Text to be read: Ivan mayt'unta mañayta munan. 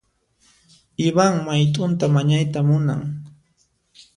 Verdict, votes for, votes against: accepted, 2, 0